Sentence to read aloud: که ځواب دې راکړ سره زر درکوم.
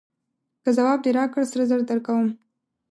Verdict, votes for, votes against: accepted, 2, 0